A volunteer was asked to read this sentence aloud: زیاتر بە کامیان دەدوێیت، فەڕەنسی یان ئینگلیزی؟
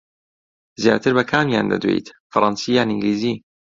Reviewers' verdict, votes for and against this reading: accepted, 2, 0